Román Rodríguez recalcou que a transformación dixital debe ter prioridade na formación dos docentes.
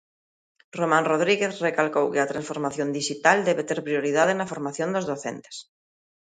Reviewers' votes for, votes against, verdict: 2, 0, accepted